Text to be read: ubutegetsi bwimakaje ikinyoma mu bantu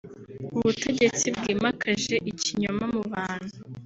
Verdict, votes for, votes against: accepted, 2, 0